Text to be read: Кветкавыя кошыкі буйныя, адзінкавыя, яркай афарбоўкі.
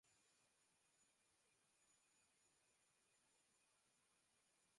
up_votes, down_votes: 0, 2